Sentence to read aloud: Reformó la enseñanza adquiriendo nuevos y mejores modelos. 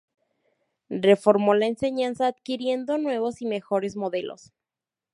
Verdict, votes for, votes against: accepted, 2, 0